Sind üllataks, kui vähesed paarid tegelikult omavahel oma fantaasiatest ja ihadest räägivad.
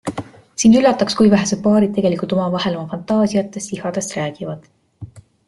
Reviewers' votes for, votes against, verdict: 2, 0, accepted